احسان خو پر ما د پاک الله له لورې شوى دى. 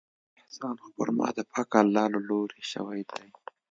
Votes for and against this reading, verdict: 2, 0, accepted